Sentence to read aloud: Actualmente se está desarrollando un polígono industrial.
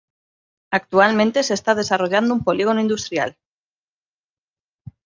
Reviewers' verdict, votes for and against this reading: accepted, 2, 0